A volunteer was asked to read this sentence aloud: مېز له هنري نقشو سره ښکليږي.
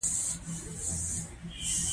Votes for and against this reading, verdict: 2, 1, accepted